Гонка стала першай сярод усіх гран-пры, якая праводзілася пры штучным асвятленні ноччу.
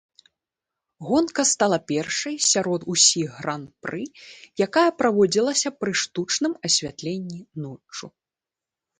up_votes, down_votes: 2, 0